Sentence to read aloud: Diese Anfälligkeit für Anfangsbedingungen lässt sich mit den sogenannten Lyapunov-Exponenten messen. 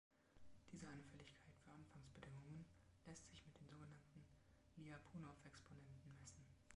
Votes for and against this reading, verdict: 2, 0, accepted